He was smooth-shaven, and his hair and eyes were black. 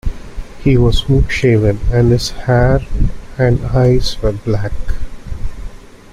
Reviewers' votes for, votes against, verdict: 2, 0, accepted